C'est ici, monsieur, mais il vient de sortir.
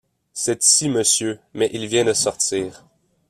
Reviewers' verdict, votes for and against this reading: rejected, 1, 2